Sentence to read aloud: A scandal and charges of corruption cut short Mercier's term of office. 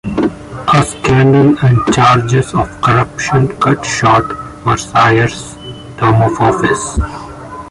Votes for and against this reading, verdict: 1, 2, rejected